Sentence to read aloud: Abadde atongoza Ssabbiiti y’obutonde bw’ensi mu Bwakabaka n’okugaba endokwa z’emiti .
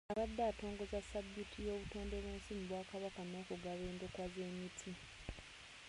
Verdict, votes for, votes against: accepted, 2, 1